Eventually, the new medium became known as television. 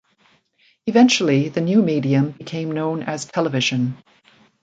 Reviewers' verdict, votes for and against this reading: accepted, 2, 0